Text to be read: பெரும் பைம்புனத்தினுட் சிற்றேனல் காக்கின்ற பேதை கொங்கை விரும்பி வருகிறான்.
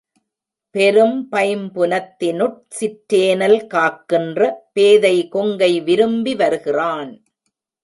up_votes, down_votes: 1, 2